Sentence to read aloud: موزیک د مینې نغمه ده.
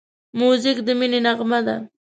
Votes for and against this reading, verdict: 2, 0, accepted